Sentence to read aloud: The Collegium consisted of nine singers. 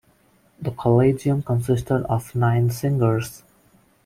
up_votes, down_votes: 2, 0